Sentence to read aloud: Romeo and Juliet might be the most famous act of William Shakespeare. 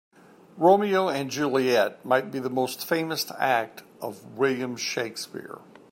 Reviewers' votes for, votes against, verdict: 2, 0, accepted